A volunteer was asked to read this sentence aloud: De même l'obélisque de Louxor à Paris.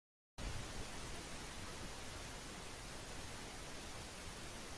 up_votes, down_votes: 0, 2